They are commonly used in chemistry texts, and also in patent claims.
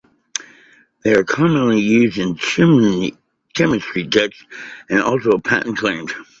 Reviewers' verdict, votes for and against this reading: rejected, 0, 2